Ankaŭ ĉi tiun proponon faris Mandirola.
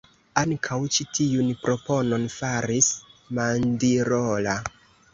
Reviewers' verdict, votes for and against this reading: rejected, 0, 2